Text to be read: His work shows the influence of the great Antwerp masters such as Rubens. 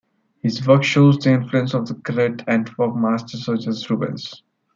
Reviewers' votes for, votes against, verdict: 2, 1, accepted